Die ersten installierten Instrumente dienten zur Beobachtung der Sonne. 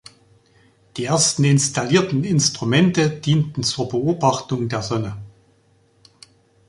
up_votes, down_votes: 2, 0